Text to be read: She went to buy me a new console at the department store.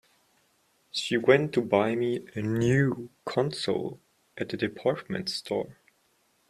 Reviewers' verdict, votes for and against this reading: accepted, 2, 0